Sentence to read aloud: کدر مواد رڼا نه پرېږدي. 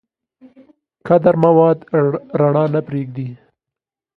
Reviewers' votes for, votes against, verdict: 2, 0, accepted